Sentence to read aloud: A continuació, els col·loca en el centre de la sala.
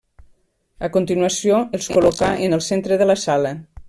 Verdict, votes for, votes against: rejected, 0, 2